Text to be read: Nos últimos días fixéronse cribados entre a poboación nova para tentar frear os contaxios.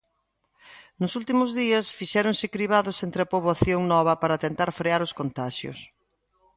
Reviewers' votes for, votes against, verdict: 2, 0, accepted